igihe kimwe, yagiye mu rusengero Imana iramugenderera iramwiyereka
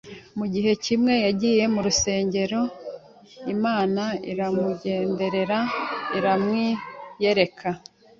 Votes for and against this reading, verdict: 2, 1, accepted